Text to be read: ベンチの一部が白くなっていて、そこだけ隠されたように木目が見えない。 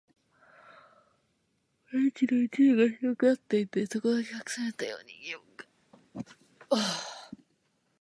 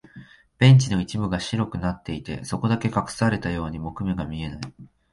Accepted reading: second